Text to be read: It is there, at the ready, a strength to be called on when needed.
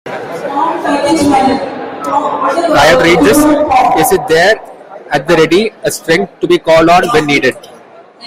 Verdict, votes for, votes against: rejected, 0, 2